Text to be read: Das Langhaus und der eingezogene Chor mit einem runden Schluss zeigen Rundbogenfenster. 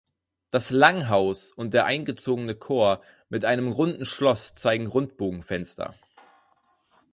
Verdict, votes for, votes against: rejected, 2, 4